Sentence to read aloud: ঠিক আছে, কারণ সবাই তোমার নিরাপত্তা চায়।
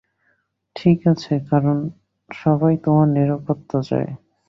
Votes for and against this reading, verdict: 2, 0, accepted